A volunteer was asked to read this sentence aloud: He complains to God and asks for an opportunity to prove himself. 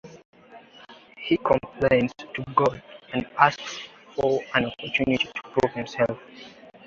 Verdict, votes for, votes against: accepted, 2, 0